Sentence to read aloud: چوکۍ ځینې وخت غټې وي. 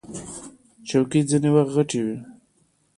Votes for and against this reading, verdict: 2, 0, accepted